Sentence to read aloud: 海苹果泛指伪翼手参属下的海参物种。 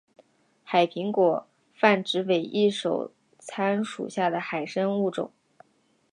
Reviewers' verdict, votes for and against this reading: rejected, 1, 2